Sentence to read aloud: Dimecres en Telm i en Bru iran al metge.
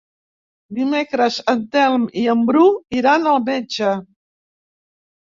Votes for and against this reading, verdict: 3, 0, accepted